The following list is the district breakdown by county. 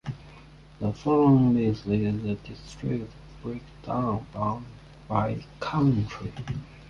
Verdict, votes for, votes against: rejected, 0, 2